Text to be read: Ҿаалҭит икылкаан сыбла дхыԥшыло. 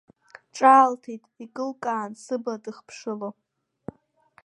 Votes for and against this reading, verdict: 2, 1, accepted